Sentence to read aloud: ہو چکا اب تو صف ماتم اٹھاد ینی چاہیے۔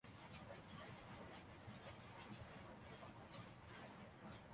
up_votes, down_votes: 0, 3